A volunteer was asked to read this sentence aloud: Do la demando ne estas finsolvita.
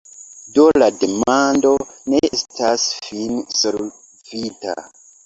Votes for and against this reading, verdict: 1, 2, rejected